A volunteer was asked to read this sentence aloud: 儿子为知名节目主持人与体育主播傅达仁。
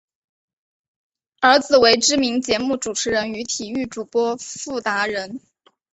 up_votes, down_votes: 3, 0